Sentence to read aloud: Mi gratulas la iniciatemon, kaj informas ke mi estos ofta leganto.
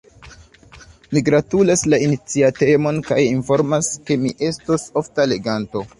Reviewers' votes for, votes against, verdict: 1, 2, rejected